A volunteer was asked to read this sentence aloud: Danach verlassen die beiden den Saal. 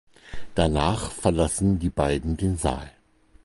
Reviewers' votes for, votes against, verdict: 4, 0, accepted